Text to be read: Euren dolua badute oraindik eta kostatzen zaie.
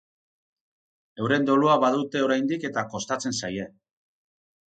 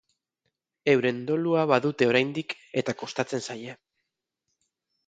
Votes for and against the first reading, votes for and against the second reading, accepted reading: 6, 0, 2, 2, first